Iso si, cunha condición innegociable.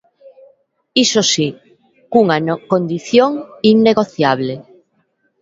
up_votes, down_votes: 0, 2